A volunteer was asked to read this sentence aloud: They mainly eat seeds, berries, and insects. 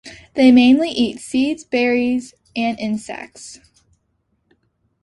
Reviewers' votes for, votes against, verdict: 2, 0, accepted